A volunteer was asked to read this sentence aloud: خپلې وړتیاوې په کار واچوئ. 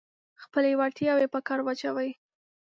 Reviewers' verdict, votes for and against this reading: accepted, 2, 0